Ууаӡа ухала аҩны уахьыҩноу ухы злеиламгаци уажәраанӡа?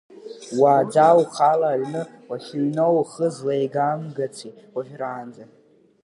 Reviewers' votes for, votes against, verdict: 0, 2, rejected